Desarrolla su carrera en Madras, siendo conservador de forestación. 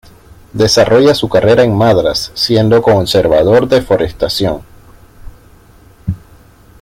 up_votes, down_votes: 2, 0